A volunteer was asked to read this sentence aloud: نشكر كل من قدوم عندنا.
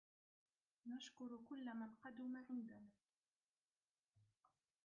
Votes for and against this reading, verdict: 1, 2, rejected